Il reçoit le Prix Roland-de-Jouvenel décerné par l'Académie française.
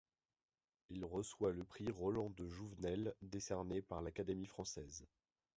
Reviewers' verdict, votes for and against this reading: accepted, 2, 0